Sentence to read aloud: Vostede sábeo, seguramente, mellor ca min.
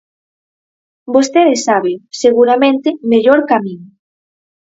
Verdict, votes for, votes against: rejected, 2, 2